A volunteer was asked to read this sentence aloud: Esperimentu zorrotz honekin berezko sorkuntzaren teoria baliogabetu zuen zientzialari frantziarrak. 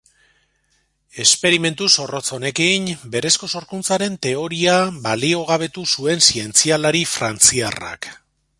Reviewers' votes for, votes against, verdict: 2, 0, accepted